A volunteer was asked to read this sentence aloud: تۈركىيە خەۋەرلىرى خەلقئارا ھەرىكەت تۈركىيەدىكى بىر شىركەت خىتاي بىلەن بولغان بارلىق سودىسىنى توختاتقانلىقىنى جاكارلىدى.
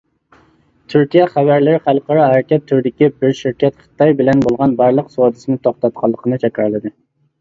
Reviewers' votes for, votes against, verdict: 1, 2, rejected